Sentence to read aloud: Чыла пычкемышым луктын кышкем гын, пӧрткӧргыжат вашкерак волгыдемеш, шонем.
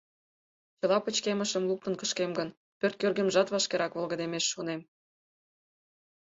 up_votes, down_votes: 0, 4